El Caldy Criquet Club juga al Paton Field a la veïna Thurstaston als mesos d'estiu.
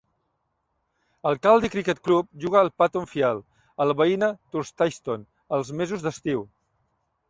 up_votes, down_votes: 0, 2